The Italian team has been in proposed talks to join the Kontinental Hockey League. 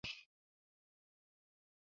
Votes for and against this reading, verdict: 0, 2, rejected